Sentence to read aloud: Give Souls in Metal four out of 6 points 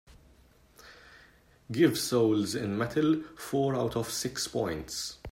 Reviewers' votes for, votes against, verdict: 0, 2, rejected